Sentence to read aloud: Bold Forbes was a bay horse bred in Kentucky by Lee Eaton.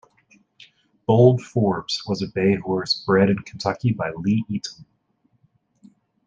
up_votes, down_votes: 2, 1